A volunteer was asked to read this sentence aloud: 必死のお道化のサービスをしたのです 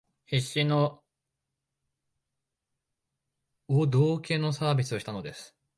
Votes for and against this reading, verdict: 0, 2, rejected